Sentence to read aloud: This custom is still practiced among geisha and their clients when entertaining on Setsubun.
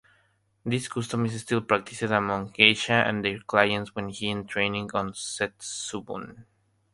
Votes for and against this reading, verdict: 3, 0, accepted